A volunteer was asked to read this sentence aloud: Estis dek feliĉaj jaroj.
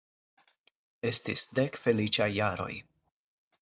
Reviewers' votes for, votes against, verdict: 4, 0, accepted